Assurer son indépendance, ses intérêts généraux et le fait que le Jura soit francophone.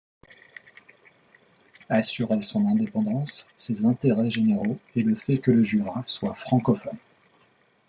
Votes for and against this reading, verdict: 2, 0, accepted